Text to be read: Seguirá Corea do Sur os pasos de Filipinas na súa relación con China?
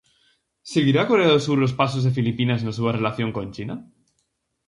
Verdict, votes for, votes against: accepted, 4, 0